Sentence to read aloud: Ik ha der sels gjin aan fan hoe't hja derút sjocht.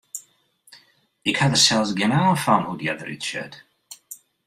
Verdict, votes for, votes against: rejected, 1, 2